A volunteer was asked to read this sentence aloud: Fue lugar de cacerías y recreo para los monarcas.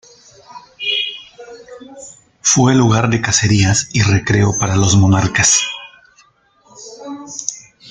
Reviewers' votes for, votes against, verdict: 2, 0, accepted